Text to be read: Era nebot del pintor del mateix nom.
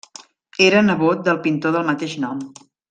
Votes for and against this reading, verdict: 3, 0, accepted